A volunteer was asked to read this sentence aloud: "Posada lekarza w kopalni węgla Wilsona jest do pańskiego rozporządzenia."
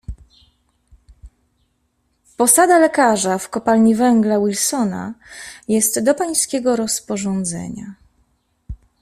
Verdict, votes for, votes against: accepted, 2, 0